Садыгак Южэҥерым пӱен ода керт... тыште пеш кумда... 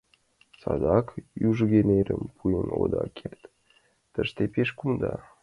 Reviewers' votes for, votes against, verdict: 0, 2, rejected